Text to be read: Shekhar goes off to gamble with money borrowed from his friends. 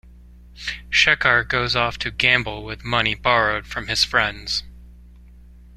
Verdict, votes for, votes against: accepted, 2, 0